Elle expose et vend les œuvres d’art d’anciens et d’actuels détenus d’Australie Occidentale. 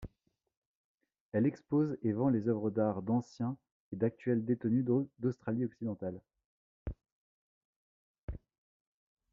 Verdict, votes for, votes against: rejected, 1, 2